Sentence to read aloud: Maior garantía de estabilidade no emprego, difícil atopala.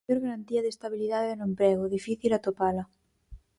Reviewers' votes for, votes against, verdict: 0, 4, rejected